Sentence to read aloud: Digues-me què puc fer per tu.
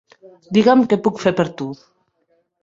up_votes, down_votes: 1, 2